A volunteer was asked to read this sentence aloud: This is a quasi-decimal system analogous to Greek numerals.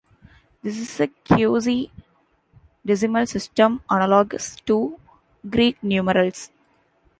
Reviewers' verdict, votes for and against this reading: accepted, 2, 0